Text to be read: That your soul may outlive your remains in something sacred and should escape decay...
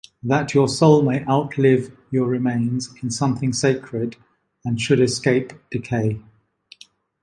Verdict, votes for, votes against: accepted, 2, 0